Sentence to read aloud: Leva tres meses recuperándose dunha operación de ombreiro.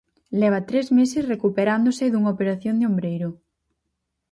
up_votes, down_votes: 4, 0